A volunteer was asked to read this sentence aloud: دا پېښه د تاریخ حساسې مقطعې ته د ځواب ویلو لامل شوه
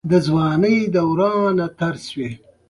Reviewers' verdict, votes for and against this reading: accepted, 2, 0